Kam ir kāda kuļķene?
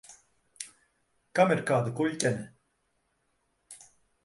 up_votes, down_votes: 2, 1